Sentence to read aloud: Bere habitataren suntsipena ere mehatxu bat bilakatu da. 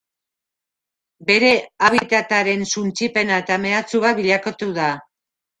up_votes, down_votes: 0, 2